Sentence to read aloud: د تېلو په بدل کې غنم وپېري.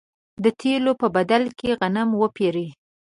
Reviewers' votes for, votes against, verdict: 2, 1, accepted